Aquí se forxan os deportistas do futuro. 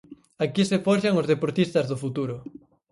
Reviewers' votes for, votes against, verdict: 4, 2, accepted